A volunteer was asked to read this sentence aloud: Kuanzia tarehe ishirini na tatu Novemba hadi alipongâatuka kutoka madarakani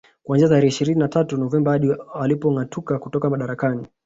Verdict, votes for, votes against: rejected, 1, 2